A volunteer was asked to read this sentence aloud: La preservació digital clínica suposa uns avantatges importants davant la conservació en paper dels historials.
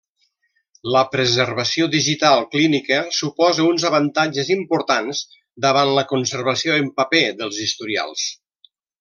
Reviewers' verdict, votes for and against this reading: accepted, 3, 0